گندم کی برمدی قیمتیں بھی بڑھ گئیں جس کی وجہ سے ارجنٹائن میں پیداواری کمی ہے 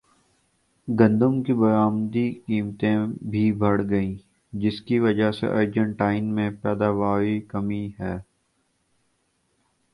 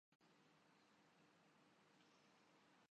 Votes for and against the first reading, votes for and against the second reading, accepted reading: 2, 0, 0, 2, first